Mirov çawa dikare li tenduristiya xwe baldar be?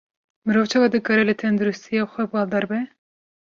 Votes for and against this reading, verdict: 2, 0, accepted